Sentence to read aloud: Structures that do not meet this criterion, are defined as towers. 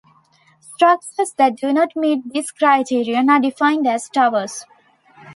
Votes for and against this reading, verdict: 2, 1, accepted